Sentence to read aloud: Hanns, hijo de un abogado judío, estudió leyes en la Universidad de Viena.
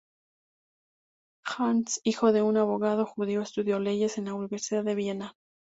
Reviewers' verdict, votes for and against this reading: accepted, 2, 0